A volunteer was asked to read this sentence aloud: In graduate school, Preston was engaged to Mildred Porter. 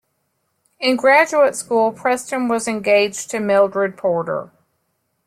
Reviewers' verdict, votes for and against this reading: accepted, 2, 0